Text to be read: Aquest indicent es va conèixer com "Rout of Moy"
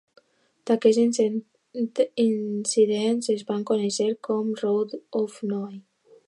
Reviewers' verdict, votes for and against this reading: rejected, 0, 2